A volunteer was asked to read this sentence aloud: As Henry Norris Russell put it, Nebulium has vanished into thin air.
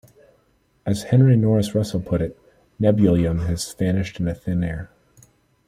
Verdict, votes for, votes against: accepted, 2, 0